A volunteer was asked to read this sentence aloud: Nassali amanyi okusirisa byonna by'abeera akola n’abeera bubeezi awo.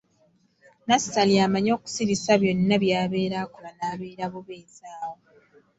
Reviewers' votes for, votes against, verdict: 2, 0, accepted